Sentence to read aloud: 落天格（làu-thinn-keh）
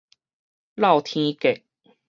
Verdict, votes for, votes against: rejected, 2, 2